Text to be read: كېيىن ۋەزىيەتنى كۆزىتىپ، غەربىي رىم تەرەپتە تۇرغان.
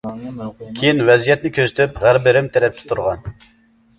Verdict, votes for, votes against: rejected, 0, 2